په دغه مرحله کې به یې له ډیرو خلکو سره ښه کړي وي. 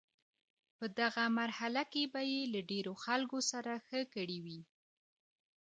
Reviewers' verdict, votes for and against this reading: accepted, 2, 1